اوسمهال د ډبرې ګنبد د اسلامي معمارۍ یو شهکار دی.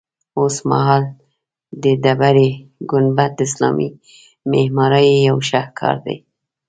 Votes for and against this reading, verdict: 2, 0, accepted